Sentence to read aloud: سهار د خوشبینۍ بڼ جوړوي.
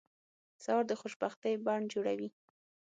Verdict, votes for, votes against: rejected, 0, 6